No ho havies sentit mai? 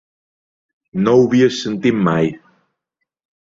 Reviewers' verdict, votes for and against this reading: rejected, 0, 2